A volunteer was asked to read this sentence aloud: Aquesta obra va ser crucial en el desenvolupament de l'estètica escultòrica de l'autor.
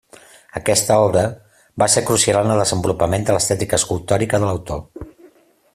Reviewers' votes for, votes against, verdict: 2, 0, accepted